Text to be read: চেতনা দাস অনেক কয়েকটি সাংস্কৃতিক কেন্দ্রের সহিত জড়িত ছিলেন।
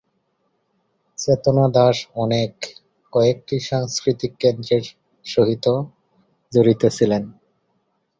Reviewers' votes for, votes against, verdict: 0, 3, rejected